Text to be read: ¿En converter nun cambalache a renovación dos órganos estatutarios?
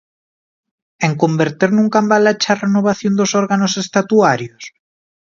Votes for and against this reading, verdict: 0, 2, rejected